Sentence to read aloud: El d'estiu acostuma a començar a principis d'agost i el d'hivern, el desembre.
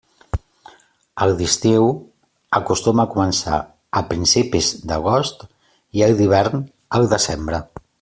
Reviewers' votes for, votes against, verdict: 2, 0, accepted